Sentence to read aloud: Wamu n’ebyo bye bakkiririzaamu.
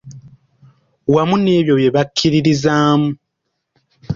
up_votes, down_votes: 2, 0